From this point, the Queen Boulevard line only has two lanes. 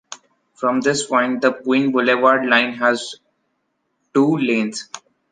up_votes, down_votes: 0, 2